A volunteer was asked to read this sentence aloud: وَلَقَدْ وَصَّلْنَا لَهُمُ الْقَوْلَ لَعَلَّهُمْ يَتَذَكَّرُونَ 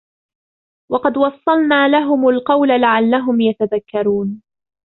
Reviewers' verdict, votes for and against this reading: rejected, 0, 2